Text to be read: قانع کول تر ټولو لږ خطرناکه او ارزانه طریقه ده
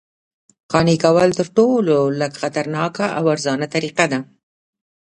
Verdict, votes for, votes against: rejected, 0, 2